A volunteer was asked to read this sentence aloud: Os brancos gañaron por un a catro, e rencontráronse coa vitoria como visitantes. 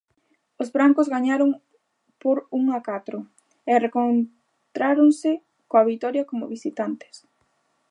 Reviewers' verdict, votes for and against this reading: rejected, 0, 2